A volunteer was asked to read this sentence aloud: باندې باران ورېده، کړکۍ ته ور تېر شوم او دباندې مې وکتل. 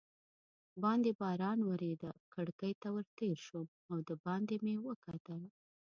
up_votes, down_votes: 1, 2